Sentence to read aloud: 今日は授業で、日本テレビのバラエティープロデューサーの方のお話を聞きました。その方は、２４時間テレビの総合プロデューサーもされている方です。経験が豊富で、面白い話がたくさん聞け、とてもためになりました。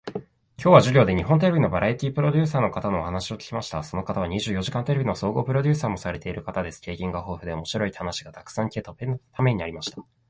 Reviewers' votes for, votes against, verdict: 0, 2, rejected